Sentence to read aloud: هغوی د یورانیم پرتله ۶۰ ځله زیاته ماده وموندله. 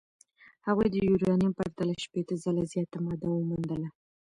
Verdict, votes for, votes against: rejected, 0, 2